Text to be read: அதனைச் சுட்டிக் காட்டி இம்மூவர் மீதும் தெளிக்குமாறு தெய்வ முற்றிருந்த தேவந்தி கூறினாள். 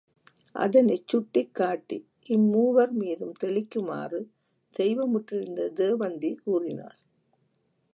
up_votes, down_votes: 2, 0